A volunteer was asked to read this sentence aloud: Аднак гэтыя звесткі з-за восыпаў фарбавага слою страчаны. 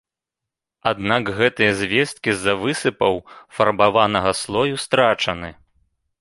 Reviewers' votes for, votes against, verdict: 0, 2, rejected